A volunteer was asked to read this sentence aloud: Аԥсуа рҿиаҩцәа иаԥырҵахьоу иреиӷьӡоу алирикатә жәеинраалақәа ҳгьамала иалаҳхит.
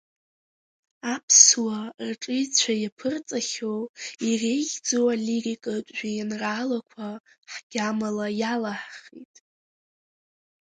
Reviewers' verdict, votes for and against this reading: rejected, 1, 2